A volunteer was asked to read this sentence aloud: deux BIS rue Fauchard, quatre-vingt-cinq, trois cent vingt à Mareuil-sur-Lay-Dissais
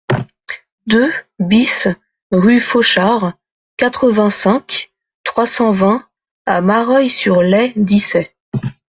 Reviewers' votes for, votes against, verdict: 2, 0, accepted